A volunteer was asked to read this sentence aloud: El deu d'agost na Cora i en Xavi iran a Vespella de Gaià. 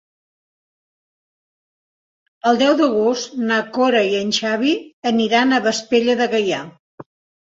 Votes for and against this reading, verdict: 1, 2, rejected